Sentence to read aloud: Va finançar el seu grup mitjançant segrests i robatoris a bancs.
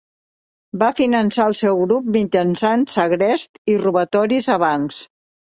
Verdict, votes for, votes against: rejected, 1, 2